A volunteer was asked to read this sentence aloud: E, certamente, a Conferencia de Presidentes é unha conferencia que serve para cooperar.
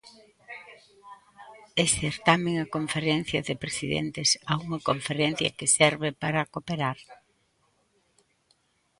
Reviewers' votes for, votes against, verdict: 0, 2, rejected